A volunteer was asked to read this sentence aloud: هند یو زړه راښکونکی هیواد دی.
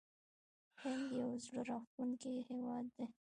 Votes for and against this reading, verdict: 1, 2, rejected